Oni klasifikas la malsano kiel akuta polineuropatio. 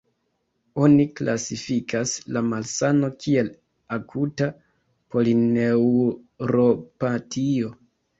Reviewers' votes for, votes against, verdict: 0, 2, rejected